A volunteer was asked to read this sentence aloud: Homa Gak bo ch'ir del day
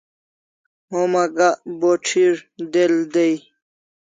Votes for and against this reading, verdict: 2, 0, accepted